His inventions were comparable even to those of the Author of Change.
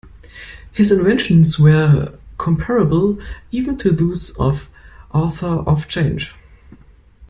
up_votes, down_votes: 0, 2